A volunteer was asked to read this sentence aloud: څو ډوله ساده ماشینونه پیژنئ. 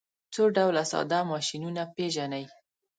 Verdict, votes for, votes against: accepted, 2, 0